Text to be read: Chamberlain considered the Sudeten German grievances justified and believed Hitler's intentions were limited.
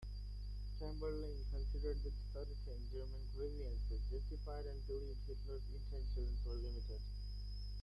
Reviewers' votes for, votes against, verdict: 0, 2, rejected